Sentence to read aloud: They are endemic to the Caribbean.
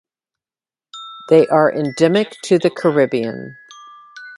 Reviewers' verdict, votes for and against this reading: rejected, 0, 2